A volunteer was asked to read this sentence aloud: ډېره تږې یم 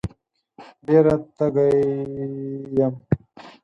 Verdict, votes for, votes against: accepted, 4, 0